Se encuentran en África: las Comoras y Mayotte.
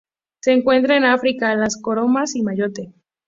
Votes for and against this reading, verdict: 0, 2, rejected